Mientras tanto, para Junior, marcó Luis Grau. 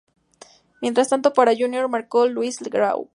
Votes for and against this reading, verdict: 2, 0, accepted